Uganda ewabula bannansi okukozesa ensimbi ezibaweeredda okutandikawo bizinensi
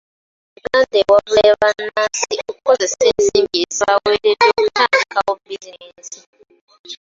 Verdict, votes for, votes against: rejected, 0, 2